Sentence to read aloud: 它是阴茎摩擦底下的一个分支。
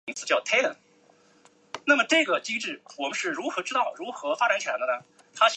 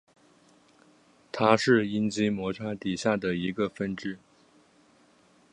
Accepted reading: second